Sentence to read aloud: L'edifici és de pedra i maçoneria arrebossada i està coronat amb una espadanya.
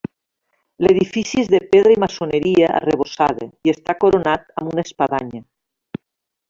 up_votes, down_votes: 3, 1